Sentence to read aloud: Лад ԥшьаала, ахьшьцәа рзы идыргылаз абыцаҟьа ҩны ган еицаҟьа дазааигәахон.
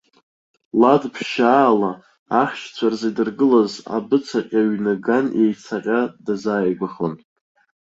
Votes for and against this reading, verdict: 0, 2, rejected